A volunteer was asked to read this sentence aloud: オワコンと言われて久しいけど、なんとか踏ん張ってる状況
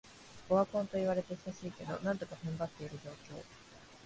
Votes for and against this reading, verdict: 2, 1, accepted